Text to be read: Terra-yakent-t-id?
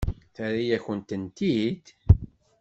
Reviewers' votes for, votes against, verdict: 1, 2, rejected